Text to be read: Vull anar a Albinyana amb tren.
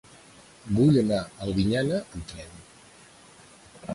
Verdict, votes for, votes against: rejected, 1, 2